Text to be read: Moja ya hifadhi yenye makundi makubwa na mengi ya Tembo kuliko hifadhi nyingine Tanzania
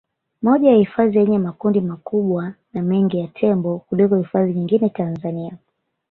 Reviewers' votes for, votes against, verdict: 3, 1, accepted